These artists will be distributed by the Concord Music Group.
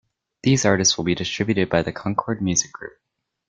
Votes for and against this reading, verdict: 2, 0, accepted